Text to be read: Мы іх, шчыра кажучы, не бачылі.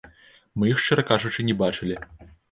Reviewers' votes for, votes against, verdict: 2, 1, accepted